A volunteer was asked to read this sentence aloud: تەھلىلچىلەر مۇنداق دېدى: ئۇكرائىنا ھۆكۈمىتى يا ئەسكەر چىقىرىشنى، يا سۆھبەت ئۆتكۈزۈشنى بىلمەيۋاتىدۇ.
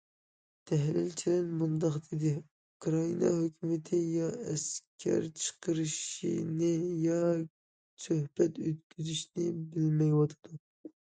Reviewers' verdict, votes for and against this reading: rejected, 0, 2